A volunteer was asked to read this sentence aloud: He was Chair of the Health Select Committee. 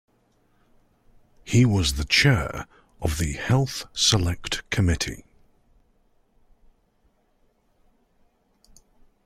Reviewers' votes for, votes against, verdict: 0, 2, rejected